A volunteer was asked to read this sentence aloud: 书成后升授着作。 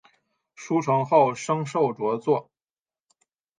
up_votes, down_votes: 8, 0